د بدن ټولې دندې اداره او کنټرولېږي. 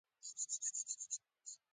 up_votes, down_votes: 1, 2